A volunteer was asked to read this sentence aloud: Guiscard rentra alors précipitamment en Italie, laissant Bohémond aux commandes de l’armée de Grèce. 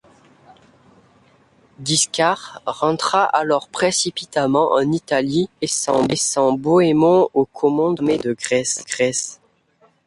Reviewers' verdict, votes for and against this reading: rejected, 0, 2